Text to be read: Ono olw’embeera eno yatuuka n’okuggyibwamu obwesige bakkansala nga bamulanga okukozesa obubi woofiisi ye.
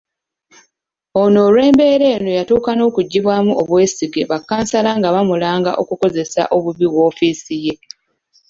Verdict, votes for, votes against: accepted, 2, 0